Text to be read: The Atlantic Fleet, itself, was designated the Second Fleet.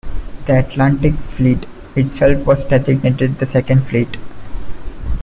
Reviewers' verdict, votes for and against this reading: accepted, 2, 0